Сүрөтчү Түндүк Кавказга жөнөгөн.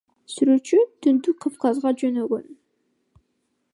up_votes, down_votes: 1, 2